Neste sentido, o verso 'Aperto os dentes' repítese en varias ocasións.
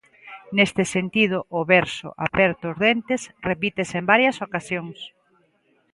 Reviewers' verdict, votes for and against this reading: accepted, 2, 0